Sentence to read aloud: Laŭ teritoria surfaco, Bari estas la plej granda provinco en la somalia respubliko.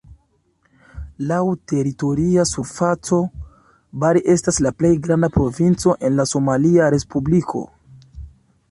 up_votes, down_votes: 2, 0